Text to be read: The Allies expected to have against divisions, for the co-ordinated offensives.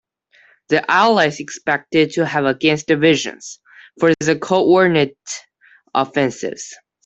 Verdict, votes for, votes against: rejected, 1, 2